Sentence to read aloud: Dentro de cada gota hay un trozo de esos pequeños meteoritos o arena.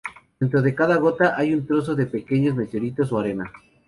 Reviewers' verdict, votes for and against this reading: rejected, 0, 2